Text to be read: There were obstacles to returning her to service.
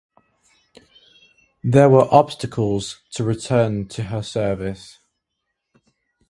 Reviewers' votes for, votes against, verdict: 0, 2, rejected